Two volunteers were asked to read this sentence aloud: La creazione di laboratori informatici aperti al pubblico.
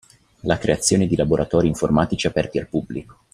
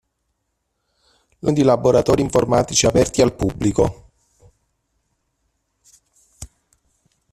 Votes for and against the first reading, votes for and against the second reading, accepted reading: 2, 0, 0, 2, first